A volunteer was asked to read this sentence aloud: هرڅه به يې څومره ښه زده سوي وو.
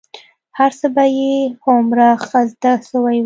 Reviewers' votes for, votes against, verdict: 2, 1, accepted